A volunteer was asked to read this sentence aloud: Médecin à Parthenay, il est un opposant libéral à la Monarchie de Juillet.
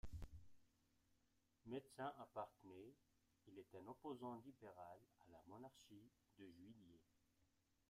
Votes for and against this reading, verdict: 2, 0, accepted